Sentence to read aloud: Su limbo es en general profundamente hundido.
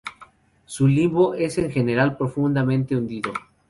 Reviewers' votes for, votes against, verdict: 2, 4, rejected